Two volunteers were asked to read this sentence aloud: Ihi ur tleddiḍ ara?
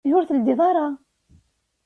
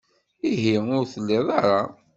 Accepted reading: first